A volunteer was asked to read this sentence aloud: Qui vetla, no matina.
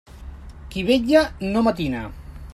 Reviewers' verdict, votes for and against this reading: rejected, 0, 2